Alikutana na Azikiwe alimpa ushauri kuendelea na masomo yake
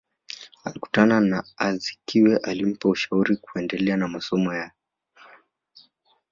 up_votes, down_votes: 2, 0